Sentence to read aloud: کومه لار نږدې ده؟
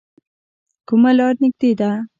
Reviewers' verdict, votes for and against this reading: accepted, 2, 0